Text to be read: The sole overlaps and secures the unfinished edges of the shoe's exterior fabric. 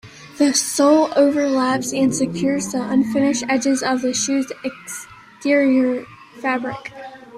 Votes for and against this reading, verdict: 2, 1, accepted